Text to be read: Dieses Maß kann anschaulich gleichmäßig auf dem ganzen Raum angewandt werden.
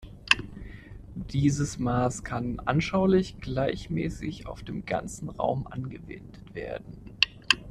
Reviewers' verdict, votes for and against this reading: rejected, 0, 2